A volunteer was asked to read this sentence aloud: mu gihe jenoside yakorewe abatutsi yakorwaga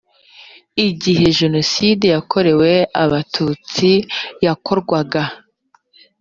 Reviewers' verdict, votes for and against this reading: rejected, 1, 2